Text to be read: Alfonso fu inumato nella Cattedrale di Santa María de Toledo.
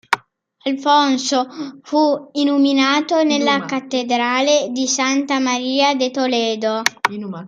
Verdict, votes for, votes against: rejected, 1, 2